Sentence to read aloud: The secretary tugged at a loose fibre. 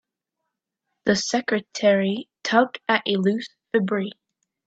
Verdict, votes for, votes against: rejected, 1, 2